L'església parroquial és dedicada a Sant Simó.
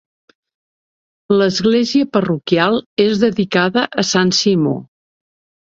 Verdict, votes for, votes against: accepted, 2, 0